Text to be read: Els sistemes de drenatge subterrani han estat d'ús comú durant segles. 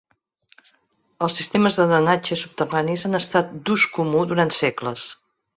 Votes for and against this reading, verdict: 2, 3, rejected